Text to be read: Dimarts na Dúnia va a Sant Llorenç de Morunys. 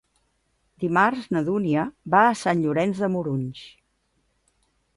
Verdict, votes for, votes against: accepted, 2, 0